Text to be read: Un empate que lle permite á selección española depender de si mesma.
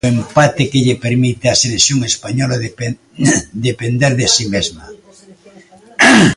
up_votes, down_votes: 0, 2